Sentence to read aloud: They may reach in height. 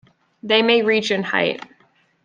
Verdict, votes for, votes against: accepted, 2, 0